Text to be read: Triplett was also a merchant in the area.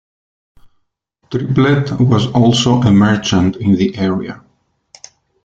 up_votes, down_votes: 2, 1